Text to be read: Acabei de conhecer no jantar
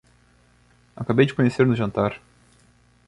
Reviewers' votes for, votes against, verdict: 2, 0, accepted